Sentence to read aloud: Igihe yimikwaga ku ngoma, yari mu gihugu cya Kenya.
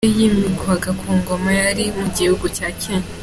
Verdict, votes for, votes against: accepted, 2, 1